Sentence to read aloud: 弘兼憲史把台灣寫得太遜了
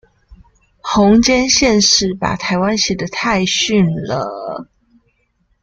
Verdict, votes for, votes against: accepted, 2, 0